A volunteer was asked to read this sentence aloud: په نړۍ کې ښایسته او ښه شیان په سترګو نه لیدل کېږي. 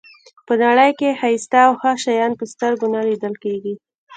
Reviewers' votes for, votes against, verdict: 1, 2, rejected